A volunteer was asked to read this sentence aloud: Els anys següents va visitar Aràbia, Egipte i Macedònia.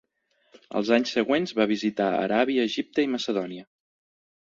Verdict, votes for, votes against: accepted, 3, 0